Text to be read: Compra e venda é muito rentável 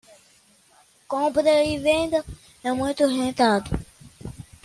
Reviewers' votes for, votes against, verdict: 1, 2, rejected